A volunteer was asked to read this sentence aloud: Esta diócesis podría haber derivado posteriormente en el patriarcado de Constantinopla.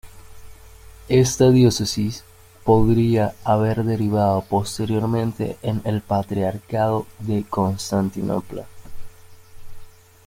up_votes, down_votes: 2, 1